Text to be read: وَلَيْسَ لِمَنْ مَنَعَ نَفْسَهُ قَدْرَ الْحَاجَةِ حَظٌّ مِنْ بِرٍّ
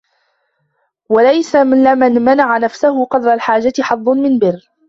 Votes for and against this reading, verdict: 0, 2, rejected